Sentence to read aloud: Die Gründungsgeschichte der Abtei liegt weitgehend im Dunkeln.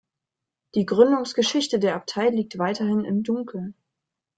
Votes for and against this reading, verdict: 0, 2, rejected